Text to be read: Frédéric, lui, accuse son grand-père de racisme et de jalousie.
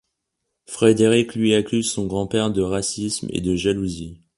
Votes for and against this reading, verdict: 1, 2, rejected